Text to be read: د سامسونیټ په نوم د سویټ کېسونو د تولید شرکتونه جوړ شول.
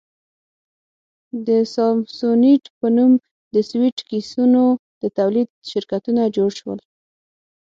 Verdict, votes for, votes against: accepted, 6, 3